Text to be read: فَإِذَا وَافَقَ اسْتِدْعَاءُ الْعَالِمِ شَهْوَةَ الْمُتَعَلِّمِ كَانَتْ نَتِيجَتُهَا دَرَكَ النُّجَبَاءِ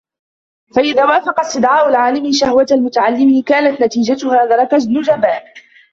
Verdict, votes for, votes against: rejected, 0, 2